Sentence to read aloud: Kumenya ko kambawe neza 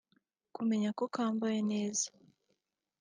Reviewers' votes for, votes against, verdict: 2, 1, accepted